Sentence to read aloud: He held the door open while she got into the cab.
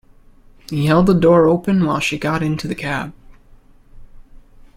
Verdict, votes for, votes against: accepted, 2, 0